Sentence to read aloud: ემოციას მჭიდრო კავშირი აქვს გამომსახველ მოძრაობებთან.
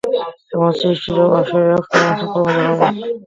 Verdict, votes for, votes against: rejected, 0, 2